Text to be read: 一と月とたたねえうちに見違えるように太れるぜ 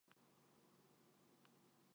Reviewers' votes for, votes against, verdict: 0, 2, rejected